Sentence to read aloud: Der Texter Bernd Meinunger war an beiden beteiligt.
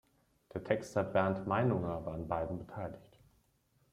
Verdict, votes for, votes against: accepted, 2, 0